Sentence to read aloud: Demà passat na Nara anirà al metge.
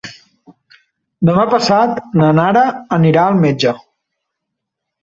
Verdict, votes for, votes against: accepted, 3, 0